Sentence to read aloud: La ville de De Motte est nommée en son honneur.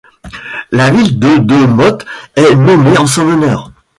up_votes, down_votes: 2, 0